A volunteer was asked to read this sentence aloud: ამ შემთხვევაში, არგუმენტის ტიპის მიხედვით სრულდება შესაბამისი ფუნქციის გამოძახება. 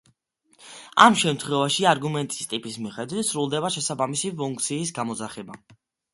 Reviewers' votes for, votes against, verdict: 2, 1, accepted